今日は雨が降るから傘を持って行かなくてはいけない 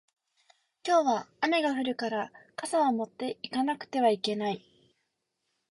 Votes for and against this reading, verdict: 2, 0, accepted